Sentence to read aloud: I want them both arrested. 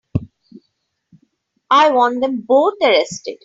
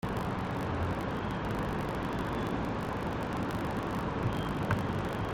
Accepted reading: first